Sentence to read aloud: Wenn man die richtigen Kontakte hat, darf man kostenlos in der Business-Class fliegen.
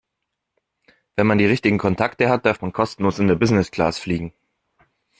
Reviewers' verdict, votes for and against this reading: accepted, 2, 0